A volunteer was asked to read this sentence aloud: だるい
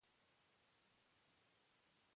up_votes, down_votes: 0, 2